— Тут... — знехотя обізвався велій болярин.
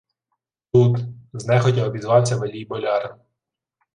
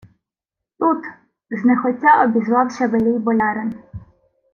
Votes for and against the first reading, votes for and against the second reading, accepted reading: 1, 2, 2, 0, second